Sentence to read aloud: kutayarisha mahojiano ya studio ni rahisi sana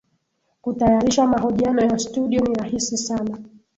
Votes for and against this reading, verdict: 10, 2, accepted